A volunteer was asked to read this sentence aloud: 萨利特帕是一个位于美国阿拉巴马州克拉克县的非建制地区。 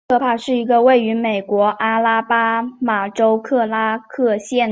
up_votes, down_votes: 1, 2